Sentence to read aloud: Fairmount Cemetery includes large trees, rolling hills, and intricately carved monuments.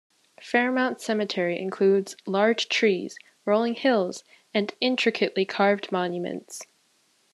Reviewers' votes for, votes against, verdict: 2, 0, accepted